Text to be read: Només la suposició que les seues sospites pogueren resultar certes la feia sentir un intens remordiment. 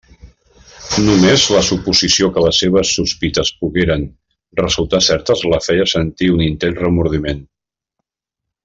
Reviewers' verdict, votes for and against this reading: rejected, 1, 2